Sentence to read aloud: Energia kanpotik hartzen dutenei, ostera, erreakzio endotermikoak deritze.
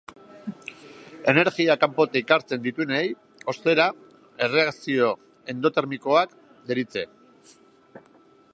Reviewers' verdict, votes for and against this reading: rejected, 1, 4